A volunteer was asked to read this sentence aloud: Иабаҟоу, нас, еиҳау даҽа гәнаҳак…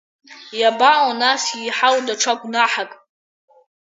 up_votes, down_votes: 4, 1